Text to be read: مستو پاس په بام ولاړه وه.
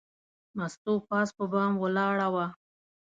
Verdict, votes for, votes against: accepted, 2, 0